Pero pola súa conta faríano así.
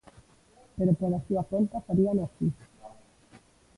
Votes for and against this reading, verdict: 0, 2, rejected